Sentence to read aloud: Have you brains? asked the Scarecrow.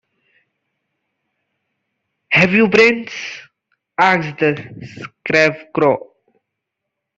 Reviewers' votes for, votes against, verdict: 0, 2, rejected